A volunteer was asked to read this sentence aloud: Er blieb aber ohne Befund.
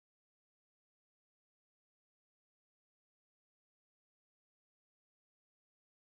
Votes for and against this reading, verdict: 0, 2, rejected